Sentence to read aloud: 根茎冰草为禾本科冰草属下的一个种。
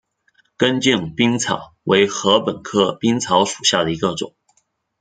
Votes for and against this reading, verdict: 2, 0, accepted